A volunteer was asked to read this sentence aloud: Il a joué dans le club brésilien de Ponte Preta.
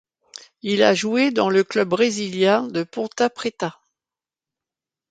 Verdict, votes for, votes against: rejected, 1, 2